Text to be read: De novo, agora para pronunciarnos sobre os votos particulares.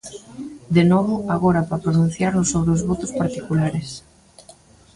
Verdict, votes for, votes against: rejected, 1, 2